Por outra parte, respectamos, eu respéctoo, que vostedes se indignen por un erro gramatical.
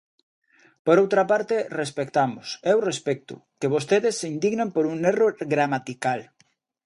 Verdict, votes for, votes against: rejected, 1, 2